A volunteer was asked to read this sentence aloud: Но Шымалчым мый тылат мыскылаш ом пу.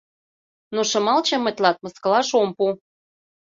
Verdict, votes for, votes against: accepted, 2, 0